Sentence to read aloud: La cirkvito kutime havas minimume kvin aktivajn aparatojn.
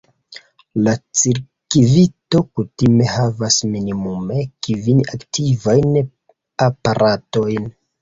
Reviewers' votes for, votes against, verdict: 0, 2, rejected